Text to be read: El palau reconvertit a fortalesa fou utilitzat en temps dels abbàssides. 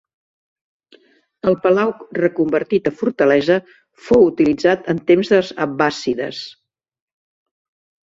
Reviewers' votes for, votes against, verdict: 1, 2, rejected